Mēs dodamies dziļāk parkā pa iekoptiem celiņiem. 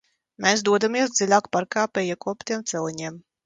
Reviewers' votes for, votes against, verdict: 2, 0, accepted